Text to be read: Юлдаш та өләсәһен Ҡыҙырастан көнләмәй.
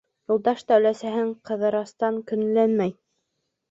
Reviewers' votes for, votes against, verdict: 2, 0, accepted